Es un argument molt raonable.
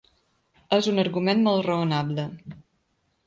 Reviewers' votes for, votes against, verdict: 4, 0, accepted